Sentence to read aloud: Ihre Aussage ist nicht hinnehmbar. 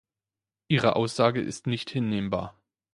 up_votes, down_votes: 2, 0